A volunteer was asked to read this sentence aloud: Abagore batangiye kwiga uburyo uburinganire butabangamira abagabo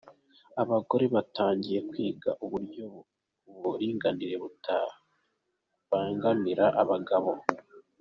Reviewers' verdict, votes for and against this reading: accepted, 2, 1